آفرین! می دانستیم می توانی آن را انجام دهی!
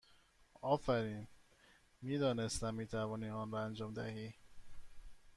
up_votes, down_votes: 1, 2